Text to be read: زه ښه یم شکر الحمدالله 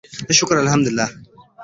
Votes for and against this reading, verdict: 2, 1, accepted